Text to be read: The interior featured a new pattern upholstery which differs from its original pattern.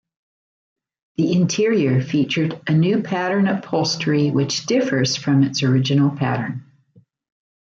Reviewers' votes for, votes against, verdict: 1, 2, rejected